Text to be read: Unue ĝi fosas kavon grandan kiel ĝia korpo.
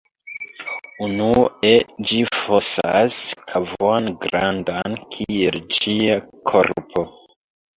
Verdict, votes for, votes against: accepted, 2, 0